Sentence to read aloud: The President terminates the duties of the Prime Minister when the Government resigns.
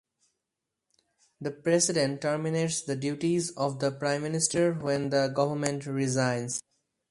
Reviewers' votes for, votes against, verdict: 4, 0, accepted